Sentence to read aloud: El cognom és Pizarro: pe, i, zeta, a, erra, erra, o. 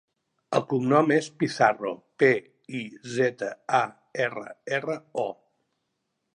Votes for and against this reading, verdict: 2, 0, accepted